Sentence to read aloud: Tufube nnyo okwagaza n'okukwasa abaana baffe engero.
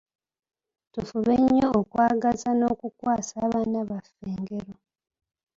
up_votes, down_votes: 0, 2